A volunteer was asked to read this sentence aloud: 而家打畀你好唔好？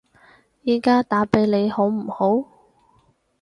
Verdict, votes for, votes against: rejected, 2, 4